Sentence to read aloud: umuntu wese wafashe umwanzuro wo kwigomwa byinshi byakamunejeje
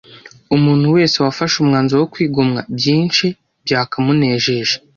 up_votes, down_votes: 2, 0